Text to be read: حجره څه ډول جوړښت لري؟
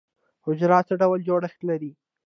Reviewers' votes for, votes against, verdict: 0, 2, rejected